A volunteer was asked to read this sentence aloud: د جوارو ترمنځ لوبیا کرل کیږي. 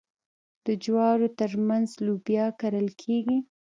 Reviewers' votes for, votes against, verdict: 1, 2, rejected